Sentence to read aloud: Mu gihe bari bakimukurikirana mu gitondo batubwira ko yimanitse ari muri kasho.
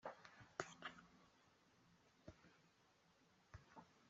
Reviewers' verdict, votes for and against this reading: rejected, 0, 2